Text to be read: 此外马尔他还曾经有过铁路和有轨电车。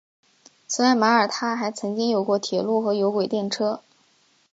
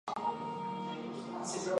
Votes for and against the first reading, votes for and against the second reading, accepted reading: 4, 0, 0, 3, first